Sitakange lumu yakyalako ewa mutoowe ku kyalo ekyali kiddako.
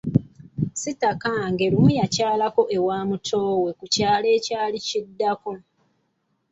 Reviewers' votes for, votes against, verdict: 2, 0, accepted